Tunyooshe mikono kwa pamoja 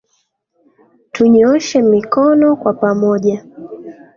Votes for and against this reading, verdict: 2, 0, accepted